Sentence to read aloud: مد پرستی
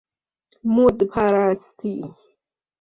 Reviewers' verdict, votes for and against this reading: accepted, 2, 0